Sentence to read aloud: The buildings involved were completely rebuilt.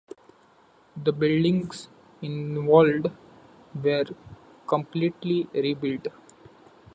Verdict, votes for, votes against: rejected, 1, 2